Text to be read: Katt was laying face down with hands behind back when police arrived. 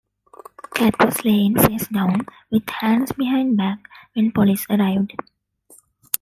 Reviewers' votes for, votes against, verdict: 2, 1, accepted